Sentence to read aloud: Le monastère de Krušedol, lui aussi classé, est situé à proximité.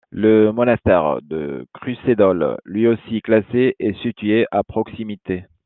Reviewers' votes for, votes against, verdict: 2, 0, accepted